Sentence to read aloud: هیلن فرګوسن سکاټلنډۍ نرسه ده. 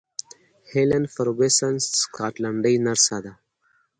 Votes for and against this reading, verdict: 2, 0, accepted